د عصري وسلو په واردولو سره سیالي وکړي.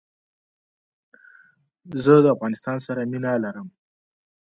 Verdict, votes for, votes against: rejected, 1, 2